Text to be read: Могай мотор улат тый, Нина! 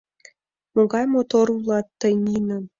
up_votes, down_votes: 2, 0